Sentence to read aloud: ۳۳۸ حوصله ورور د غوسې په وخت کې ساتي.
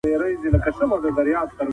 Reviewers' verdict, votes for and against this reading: rejected, 0, 2